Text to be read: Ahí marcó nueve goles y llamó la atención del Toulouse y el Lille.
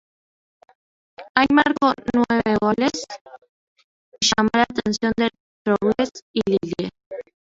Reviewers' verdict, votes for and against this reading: rejected, 0, 2